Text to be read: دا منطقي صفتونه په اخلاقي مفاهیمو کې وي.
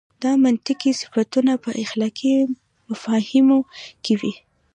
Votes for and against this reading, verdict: 2, 0, accepted